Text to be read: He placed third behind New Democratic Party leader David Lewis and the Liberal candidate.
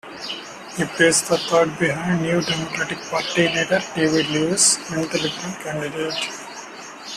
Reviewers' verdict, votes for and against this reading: rejected, 0, 2